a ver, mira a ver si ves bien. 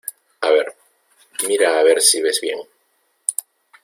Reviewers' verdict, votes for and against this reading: accepted, 2, 0